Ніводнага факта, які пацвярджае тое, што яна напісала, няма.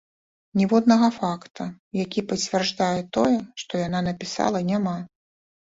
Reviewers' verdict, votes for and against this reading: rejected, 1, 2